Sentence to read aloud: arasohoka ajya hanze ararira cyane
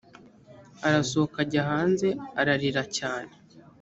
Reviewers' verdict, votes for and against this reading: accepted, 3, 0